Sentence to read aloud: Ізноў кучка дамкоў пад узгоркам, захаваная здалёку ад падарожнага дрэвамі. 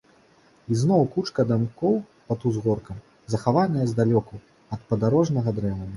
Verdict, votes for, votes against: rejected, 1, 2